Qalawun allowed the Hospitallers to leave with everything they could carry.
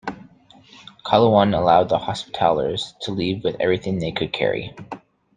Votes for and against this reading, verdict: 2, 0, accepted